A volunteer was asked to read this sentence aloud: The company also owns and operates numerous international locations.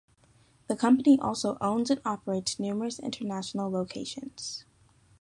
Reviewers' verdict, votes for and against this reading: accepted, 2, 0